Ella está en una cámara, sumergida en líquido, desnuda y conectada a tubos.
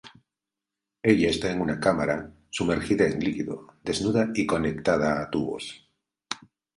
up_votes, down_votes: 2, 0